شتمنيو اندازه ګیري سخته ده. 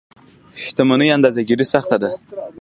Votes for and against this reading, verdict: 2, 0, accepted